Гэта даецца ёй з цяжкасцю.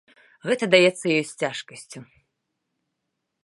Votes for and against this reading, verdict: 2, 0, accepted